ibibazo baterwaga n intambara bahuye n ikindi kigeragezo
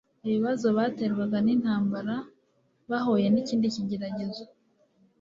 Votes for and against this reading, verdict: 3, 0, accepted